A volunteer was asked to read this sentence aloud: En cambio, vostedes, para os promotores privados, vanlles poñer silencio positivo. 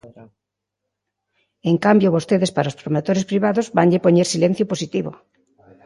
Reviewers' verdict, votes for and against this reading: rejected, 1, 2